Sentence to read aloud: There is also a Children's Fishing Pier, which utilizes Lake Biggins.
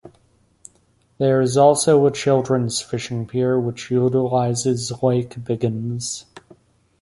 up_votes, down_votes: 1, 2